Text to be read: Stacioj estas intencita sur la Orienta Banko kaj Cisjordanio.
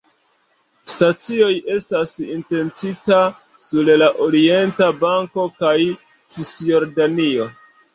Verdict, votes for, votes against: rejected, 3, 4